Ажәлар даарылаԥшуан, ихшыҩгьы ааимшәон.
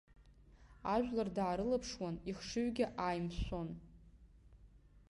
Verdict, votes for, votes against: accepted, 2, 0